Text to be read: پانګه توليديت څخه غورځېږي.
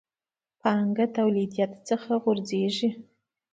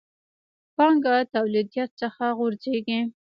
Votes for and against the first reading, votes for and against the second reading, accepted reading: 2, 0, 1, 2, first